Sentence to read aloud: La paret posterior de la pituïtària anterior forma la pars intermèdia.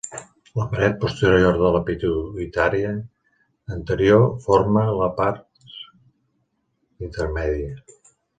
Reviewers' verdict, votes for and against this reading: rejected, 0, 2